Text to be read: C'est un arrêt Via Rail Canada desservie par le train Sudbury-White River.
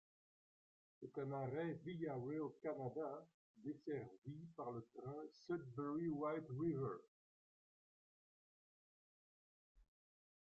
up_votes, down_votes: 0, 2